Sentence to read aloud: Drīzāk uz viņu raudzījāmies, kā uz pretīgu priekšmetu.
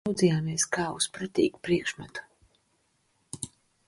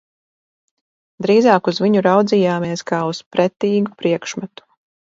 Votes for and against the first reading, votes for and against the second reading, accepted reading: 0, 2, 2, 0, second